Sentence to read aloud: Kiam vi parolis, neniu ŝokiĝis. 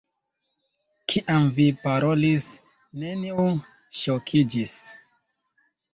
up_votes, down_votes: 1, 2